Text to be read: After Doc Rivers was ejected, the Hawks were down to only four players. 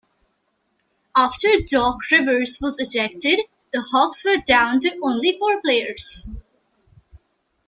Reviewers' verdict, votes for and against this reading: accepted, 3, 0